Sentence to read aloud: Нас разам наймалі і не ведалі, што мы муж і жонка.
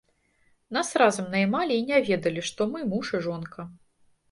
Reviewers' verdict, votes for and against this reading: accepted, 2, 0